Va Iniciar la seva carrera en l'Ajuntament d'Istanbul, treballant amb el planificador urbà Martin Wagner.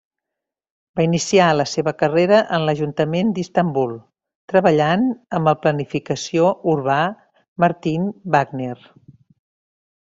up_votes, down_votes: 0, 2